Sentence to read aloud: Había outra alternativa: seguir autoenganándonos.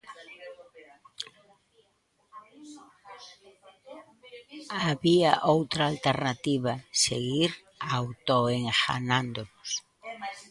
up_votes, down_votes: 0, 2